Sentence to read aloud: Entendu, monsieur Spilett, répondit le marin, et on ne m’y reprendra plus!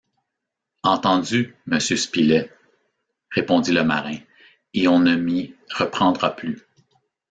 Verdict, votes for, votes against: accepted, 2, 0